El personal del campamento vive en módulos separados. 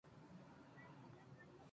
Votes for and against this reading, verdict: 0, 2, rejected